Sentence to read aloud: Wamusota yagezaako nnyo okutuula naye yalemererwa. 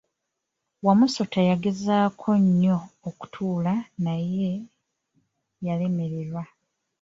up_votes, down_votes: 2, 0